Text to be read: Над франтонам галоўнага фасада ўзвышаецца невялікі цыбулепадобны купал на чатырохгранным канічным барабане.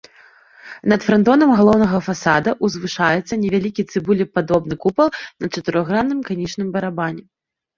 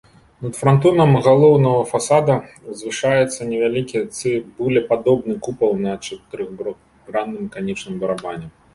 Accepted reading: first